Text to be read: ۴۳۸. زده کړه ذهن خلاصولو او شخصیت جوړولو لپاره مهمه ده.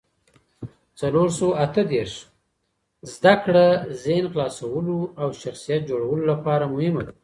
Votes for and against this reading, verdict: 0, 2, rejected